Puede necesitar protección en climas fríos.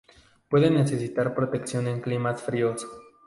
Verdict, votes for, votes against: accepted, 2, 0